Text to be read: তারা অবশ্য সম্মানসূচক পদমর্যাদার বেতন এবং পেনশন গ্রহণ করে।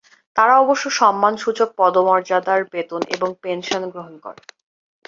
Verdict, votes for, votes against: accepted, 2, 0